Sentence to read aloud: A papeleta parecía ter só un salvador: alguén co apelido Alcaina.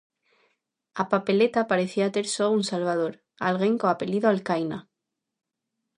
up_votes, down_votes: 2, 0